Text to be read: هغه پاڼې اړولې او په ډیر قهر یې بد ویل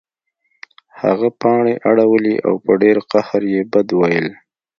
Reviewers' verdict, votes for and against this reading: accepted, 2, 0